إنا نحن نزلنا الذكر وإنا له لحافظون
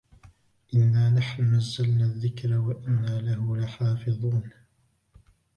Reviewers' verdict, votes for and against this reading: rejected, 1, 2